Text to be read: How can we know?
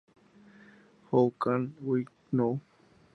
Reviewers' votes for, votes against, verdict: 0, 2, rejected